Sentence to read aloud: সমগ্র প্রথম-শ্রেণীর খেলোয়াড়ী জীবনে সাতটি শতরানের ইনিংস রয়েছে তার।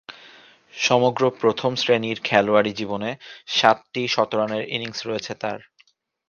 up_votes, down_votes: 2, 0